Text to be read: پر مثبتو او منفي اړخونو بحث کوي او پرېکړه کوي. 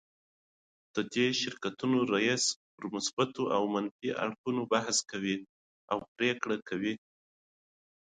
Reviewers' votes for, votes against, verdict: 1, 2, rejected